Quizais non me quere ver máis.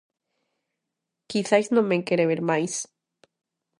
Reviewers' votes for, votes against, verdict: 2, 0, accepted